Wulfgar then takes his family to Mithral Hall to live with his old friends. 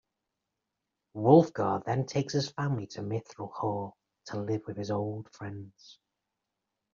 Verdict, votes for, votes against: accepted, 2, 0